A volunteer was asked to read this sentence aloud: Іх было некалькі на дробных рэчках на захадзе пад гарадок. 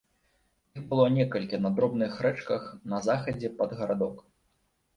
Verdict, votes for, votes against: rejected, 2, 3